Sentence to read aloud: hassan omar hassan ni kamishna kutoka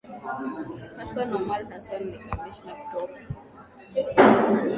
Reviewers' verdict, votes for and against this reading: accepted, 2, 0